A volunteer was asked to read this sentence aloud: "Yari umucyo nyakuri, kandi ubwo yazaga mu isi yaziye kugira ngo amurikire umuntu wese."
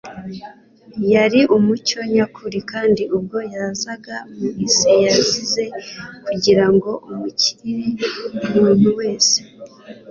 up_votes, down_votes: 2, 0